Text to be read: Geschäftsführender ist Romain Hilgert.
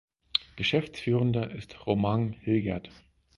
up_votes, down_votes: 4, 0